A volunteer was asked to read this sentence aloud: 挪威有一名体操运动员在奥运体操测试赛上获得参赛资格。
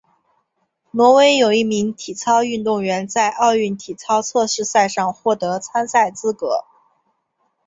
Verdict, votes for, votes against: accepted, 3, 0